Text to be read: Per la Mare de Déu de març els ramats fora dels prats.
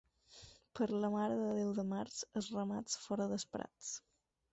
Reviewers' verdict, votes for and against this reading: accepted, 4, 0